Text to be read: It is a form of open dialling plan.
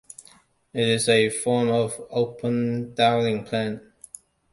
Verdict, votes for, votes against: accepted, 2, 0